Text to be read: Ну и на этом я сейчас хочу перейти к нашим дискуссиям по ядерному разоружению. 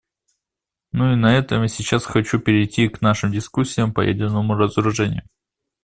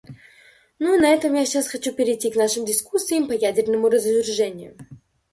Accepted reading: first